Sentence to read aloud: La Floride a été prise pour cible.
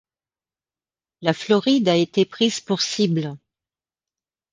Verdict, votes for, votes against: accepted, 2, 0